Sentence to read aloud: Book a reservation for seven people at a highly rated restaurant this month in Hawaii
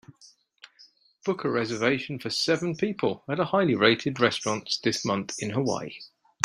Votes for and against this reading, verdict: 2, 0, accepted